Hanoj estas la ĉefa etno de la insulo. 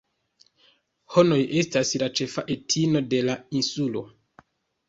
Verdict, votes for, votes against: rejected, 1, 2